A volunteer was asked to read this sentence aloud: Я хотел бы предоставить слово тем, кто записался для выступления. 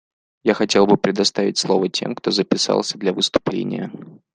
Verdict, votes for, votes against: accepted, 2, 0